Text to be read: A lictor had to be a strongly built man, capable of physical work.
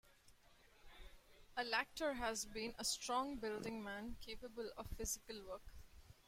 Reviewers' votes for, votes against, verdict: 0, 2, rejected